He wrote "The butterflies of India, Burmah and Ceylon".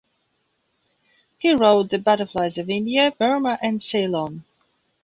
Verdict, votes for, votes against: accepted, 3, 0